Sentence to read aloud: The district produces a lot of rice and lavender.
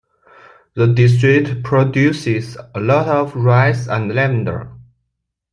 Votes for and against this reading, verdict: 2, 0, accepted